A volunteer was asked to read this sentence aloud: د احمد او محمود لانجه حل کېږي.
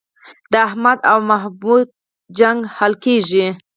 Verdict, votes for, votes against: rejected, 0, 4